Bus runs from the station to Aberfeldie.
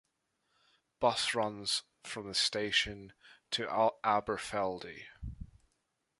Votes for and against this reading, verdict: 0, 2, rejected